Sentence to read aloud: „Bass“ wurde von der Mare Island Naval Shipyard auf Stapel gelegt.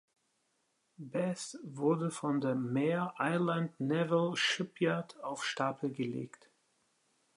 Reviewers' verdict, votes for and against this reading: accepted, 3, 0